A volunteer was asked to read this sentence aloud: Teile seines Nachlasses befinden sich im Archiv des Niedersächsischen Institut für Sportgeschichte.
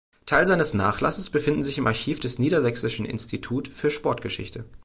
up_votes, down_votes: 1, 2